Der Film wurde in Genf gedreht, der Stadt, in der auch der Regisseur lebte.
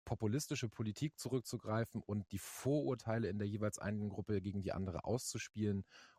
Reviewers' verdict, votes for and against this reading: rejected, 0, 2